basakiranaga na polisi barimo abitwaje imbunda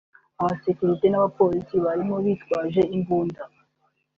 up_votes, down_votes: 1, 2